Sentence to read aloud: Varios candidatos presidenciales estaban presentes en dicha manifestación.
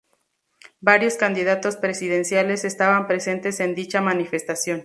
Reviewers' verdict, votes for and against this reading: accepted, 2, 0